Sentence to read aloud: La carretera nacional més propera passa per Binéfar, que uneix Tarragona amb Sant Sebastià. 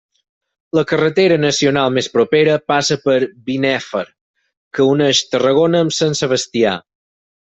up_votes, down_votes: 4, 2